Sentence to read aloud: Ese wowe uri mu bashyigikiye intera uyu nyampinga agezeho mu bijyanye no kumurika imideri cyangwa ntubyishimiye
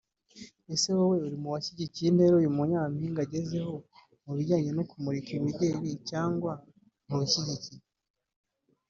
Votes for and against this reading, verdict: 1, 2, rejected